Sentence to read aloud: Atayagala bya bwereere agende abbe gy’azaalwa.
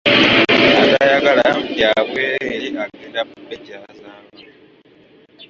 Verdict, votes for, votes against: rejected, 1, 2